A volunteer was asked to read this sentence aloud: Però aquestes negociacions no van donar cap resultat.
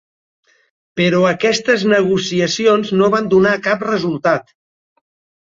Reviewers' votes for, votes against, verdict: 0, 2, rejected